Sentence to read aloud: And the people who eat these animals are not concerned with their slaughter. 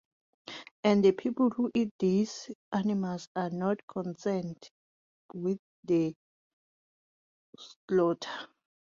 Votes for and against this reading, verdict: 2, 1, accepted